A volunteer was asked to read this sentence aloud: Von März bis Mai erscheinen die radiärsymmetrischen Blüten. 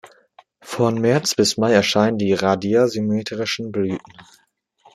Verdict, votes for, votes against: accepted, 2, 0